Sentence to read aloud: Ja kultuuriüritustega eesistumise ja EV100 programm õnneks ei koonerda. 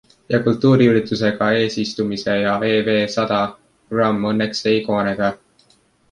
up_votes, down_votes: 0, 2